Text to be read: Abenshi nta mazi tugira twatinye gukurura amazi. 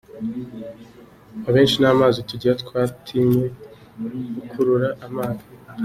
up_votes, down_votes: 2, 1